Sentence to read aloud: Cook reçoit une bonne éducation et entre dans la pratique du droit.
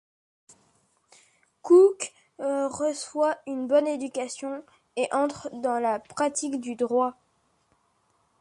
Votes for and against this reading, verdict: 2, 0, accepted